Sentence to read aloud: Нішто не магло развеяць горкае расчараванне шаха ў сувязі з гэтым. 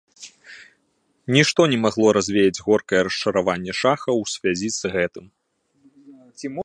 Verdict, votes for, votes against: rejected, 0, 2